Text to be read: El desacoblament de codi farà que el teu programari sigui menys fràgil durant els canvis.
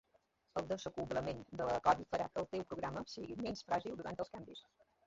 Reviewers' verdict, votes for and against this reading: rejected, 1, 2